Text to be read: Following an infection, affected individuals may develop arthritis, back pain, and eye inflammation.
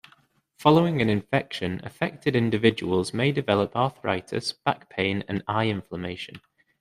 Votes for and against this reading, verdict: 2, 0, accepted